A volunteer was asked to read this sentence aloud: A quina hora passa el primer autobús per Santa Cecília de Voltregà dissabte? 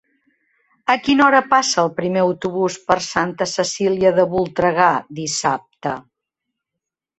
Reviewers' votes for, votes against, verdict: 3, 0, accepted